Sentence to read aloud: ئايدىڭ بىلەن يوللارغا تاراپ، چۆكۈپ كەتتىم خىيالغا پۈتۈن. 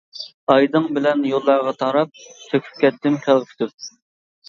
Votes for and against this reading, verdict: 1, 2, rejected